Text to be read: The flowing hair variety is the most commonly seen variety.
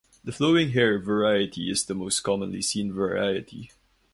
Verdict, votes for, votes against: accepted, 4, 0